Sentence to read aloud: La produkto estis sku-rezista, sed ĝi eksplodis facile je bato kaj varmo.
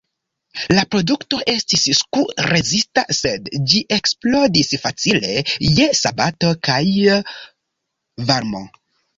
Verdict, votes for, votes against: accepted, 2, 0